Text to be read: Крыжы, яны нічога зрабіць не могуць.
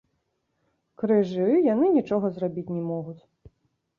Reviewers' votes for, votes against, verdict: 0, 2, rejected